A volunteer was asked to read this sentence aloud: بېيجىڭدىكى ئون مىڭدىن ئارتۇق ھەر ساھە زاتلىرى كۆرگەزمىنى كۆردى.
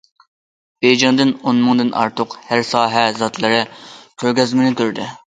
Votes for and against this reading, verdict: 0, 2, rejected